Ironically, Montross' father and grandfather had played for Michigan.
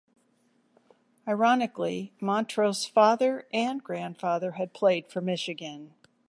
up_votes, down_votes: 2, 0